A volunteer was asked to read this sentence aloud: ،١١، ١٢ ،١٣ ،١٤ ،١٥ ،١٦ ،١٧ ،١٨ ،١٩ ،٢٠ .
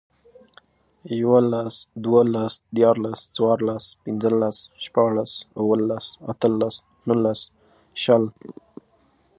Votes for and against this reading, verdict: 0, 2, rejected